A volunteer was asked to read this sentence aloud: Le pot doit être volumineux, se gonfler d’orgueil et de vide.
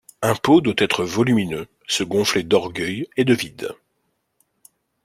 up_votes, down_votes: 0, 2